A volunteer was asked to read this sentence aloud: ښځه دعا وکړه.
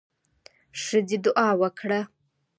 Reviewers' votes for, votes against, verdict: 2, 1, accepted